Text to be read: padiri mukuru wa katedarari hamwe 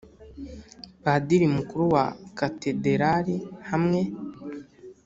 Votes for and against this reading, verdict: 0, 2, rejected